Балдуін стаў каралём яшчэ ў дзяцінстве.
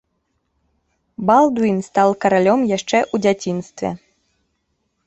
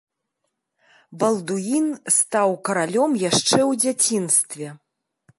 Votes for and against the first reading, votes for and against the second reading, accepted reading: 0, 2, 2, 0, second